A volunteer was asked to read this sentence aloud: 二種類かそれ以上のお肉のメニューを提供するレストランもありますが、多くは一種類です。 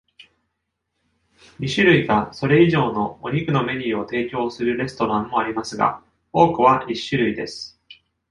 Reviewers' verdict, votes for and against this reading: accepted, 2, 0